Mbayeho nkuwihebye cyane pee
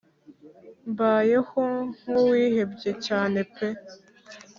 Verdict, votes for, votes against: accepted, 3, 0